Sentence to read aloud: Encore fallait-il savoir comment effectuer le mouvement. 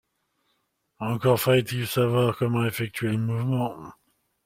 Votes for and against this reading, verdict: 2, 0, accepted